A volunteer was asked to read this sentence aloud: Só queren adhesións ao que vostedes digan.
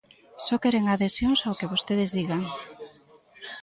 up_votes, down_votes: 0, 2